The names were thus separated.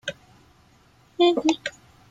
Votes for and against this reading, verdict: 0, 2, rejected